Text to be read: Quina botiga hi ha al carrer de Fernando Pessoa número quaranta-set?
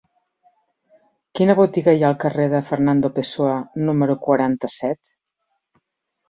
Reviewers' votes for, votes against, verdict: 2, 0, accepted